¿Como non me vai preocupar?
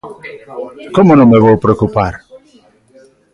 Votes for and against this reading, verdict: 0, 2, rejected